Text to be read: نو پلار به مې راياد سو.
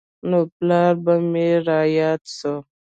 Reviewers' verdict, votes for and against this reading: accepted, 2, 0